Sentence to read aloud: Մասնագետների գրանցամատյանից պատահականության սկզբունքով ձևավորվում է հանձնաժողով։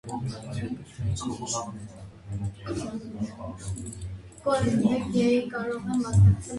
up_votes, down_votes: 0, 2